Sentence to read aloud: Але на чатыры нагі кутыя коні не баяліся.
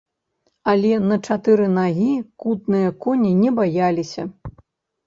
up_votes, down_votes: 0, 3